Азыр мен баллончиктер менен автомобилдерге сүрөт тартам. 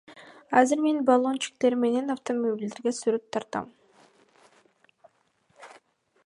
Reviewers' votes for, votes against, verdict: 0, 2, rejected